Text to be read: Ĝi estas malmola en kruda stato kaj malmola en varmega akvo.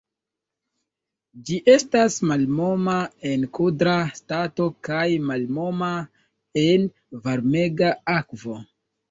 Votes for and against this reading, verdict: 0, 2, rejected